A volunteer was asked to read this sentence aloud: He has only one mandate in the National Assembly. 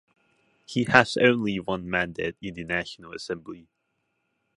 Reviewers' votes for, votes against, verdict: 2, 0, accepted